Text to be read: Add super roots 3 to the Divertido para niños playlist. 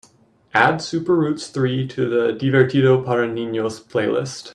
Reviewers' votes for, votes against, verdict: 0, 2, rejected